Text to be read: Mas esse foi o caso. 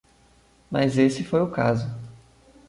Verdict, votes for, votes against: accepted, 2, 0